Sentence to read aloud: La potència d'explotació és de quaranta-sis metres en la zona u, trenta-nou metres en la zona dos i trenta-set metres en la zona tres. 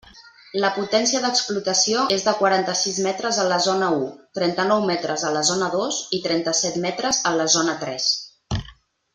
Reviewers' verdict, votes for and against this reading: rejected, 1, 2